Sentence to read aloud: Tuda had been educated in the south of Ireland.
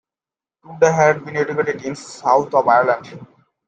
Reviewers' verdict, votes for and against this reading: accepted, 2, 1